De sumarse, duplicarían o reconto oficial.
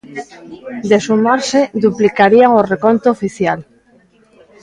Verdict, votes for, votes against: rejected, 0, 2